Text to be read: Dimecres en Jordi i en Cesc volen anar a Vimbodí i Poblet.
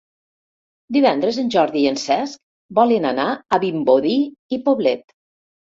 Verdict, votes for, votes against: rejected, 0, 2